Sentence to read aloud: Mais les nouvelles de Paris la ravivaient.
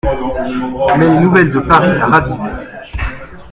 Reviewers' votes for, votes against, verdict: 1, 2, rejected